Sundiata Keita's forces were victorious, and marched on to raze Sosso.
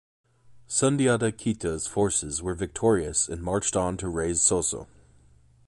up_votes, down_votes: 2, 0